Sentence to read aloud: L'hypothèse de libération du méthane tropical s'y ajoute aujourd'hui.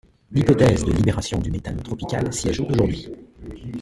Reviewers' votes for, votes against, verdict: 1, 2, rejected